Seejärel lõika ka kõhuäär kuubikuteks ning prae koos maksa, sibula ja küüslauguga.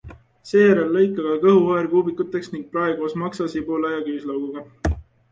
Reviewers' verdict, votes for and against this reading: accepted, 2, 0